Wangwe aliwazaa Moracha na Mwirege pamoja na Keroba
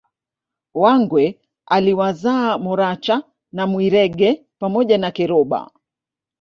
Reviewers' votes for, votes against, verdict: 0, 2, rejected